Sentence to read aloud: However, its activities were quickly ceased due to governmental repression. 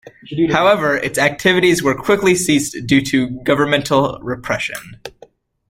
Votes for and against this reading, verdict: 2, 0, accepted